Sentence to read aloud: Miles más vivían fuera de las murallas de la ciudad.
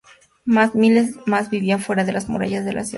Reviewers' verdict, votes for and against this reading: accepted, 4, 2